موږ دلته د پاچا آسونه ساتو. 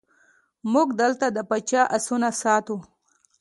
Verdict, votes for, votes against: accepted, 2, 0